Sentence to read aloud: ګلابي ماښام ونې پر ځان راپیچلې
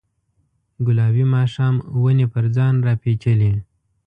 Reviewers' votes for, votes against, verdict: 2, 0, accepted